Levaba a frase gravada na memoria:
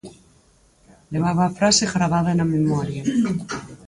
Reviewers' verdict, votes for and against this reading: rejected, 2, 2